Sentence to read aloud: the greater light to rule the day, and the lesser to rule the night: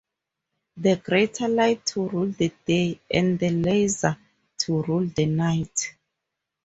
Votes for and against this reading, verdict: 0, 2, rejected